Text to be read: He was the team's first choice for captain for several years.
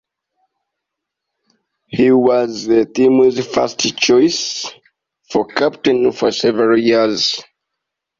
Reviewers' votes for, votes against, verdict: 2, 0, accepted